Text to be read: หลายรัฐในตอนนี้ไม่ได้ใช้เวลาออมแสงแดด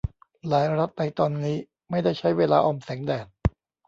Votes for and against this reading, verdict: 1, 2, rejected